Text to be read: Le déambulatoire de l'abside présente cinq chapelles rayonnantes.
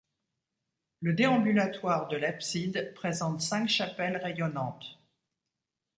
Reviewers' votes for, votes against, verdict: 2, 0, accepted